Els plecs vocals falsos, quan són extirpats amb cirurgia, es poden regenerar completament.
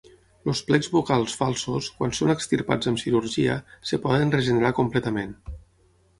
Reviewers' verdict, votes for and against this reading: rejected, 0, 6